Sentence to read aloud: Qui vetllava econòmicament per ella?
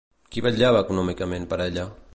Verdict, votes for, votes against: accepted, 2, 0